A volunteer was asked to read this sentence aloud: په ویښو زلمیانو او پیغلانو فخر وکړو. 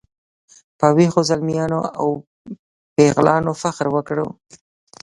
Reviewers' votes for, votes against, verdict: 1, 2, rejected